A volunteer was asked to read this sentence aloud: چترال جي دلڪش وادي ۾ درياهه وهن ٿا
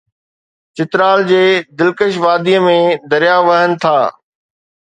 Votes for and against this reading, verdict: 2, 0, accepted